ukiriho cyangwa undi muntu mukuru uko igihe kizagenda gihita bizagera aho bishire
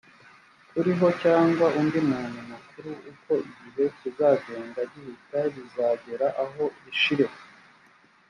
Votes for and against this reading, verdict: 1, 3, rejected